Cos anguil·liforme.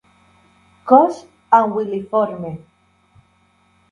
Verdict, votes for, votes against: rejected, 1, 2